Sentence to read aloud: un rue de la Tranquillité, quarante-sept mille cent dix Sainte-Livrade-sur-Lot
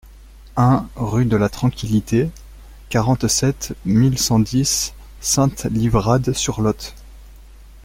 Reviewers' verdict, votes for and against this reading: rejected, 0, 2